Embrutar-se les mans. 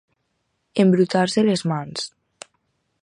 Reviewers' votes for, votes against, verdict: 4, 0, accepted